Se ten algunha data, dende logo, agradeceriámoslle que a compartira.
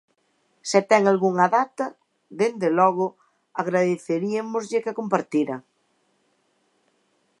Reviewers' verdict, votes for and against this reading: rejected, 1, 2